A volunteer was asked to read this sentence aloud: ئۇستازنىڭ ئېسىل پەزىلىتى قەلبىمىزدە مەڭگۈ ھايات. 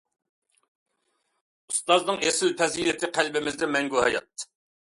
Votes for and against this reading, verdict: 2, 0, accepted